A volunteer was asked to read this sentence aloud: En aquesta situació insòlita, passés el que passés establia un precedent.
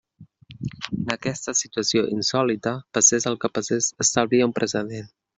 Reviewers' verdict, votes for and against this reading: rejected, 0, 2